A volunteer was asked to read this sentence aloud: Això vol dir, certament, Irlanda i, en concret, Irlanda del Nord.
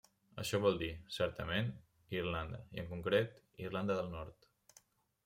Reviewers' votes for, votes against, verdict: 3, 0, accepted